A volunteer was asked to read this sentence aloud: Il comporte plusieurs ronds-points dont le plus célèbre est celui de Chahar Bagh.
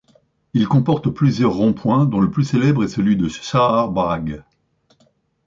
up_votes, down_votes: 2, 1